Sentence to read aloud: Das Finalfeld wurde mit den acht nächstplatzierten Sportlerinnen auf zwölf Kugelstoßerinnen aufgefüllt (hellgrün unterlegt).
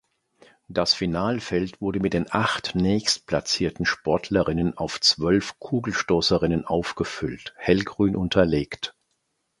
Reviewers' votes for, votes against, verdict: 2, 0, accepted